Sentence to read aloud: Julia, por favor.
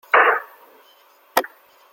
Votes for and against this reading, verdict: 0, 2, rejected